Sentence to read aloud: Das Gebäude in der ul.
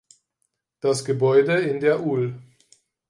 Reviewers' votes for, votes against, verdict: 2, 4, rejected